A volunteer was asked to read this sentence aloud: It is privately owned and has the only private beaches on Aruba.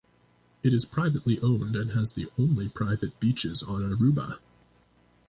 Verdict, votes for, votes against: accepted, 2, 0